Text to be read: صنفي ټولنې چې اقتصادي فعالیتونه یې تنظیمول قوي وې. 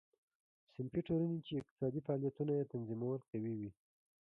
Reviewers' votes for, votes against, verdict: 0, 2, rejected